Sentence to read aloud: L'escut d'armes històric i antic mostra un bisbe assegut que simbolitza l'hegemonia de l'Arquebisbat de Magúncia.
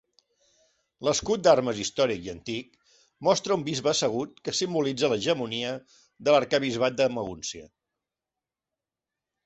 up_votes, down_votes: 3, 0